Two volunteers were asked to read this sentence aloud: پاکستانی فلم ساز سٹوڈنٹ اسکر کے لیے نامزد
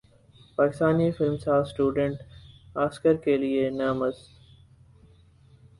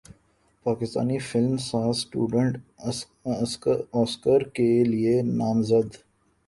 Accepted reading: first